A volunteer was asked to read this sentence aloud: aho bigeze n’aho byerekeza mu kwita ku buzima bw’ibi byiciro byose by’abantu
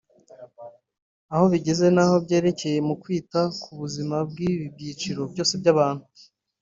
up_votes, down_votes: 1, 2